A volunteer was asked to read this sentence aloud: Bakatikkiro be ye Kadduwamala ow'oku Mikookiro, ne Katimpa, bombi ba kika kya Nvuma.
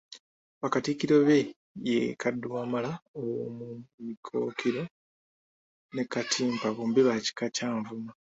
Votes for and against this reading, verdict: 1, 2, rejected